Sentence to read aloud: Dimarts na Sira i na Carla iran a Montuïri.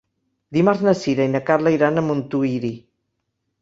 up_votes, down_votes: 2, 0